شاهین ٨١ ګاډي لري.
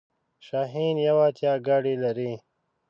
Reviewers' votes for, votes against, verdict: 0, 2, rejected